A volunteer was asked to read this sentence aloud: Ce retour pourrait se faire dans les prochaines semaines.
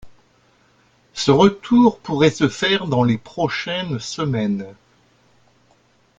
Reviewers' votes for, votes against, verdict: 1, 2, rejected